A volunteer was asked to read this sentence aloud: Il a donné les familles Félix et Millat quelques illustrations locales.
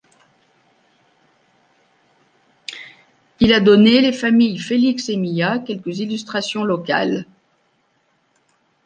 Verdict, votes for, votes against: accepted, 2, 1